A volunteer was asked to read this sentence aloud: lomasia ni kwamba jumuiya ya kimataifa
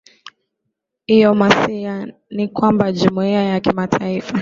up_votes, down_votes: 2, 0